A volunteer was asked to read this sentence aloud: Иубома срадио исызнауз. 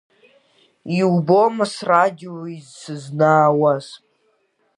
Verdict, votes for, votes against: rejected, 1, 3